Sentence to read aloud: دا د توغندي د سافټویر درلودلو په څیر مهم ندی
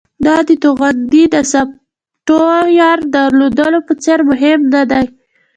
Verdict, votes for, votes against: rejected, 0, 2